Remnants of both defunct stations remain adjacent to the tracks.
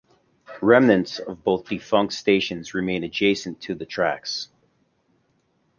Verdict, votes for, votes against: accepted, 2, 0